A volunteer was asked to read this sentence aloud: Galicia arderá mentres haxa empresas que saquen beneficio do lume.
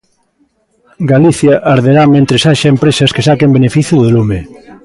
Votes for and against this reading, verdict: 2, 0, accepted